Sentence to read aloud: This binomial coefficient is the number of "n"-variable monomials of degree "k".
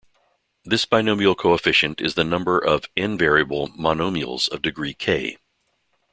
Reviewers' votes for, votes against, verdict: 2, 0, accepted